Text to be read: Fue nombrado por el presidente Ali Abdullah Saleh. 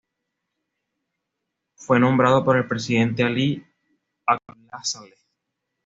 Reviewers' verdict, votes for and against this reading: accepted, 2, 0